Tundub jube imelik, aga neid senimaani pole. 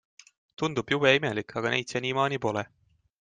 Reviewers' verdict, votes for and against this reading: accepted, 2, 0